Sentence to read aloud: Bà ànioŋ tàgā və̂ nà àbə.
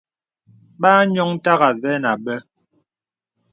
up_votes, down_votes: 2, 0